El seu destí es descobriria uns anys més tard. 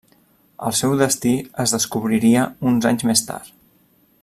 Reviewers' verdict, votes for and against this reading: accepted, 3, 0